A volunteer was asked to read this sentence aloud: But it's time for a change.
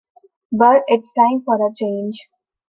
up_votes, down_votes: 3, 0